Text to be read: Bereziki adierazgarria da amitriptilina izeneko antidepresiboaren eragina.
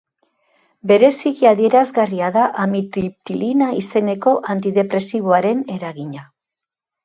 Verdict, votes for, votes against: accepted, 2, 0